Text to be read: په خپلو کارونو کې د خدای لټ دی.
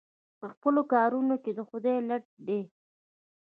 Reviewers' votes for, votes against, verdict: 1, 2, rejected